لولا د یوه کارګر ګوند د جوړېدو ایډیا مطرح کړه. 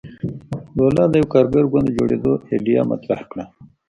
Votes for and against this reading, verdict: 0, 2, rejected